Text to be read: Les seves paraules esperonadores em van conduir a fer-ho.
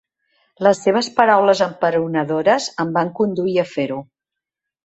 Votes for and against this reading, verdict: 0, 2, rejected